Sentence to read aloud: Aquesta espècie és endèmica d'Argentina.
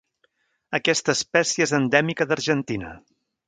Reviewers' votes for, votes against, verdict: 2, 0, accepted